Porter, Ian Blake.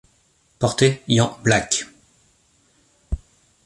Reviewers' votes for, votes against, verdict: 1, 2, rejected